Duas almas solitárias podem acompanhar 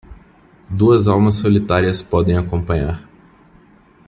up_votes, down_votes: 2, 0